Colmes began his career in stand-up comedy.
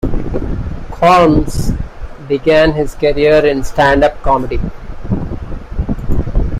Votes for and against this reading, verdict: 2, 1, accepted